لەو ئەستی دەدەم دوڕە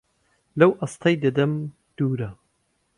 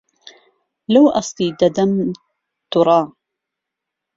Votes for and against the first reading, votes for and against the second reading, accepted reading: 1, 2, 2, 0, second